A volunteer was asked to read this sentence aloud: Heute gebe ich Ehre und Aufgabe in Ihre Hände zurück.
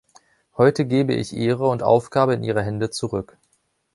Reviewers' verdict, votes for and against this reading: accepted, 2, 0